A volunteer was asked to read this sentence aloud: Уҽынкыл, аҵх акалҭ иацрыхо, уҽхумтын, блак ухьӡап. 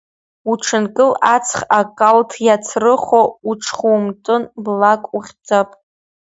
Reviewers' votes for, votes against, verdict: 1, 2, rejected